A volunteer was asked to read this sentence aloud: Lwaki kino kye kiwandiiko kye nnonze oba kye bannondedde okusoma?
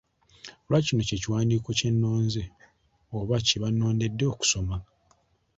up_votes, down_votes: 2, 0